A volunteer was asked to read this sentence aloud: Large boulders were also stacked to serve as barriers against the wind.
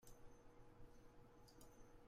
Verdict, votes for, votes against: rejected, 0, 2